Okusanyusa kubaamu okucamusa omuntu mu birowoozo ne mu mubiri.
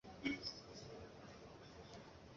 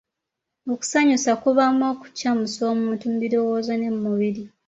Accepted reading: second